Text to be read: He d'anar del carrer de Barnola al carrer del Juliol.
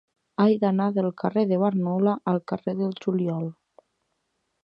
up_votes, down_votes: 0, 2